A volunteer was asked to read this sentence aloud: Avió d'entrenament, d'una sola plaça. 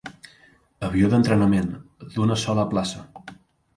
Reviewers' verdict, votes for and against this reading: accepted, 2, 0